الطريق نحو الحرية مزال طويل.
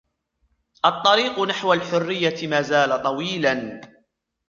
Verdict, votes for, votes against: rejected, 1, 2